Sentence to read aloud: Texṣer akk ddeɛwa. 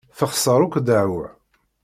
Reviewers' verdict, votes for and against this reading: accepted, 2, 0